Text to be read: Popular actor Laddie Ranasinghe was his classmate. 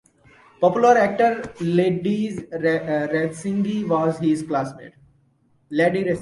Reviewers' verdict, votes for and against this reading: accepted, 2, 1